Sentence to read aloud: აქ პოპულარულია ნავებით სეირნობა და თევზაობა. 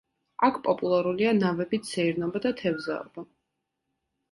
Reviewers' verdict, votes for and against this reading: accepted, 2, 0